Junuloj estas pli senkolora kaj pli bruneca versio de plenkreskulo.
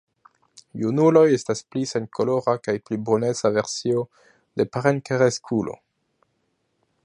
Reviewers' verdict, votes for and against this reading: rejected, 1, 2